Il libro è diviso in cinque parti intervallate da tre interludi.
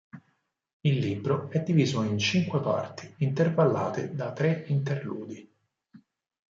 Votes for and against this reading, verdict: 4, 0, accepted